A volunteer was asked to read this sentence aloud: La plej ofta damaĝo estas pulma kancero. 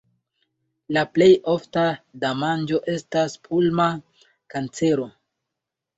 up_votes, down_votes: 1, 2